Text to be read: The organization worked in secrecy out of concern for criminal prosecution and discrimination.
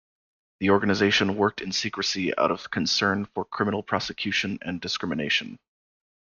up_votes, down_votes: 2, 0